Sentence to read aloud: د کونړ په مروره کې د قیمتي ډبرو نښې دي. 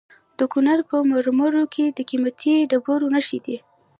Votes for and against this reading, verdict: 0, 2, rejected